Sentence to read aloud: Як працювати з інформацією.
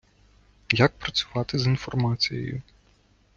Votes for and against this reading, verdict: 2, 0, accepted